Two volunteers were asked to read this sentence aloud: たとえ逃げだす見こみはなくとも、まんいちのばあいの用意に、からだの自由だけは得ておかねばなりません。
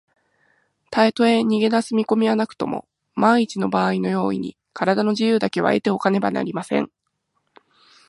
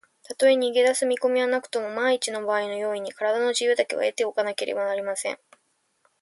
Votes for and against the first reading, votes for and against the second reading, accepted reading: 0, 2, 4, 1, second